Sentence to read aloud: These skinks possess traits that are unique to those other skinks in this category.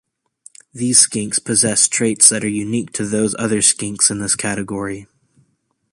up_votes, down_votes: 2, 0